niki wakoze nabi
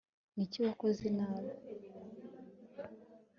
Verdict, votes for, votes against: accepted, 2, 0